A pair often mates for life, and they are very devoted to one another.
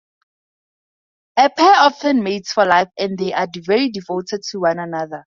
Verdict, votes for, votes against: accepted, 2, 0